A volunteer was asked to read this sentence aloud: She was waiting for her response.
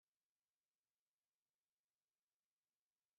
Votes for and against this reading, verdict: 1, 4, rejected